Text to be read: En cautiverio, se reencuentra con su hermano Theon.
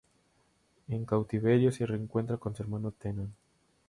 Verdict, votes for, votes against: rejected, 0, 2